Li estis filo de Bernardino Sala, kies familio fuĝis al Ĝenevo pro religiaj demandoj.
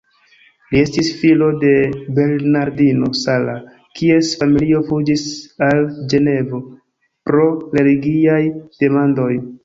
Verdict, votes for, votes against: accepted, 2, 0